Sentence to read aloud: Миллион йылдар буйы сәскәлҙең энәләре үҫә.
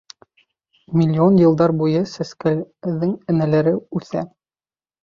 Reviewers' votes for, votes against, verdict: 0, 2, rejected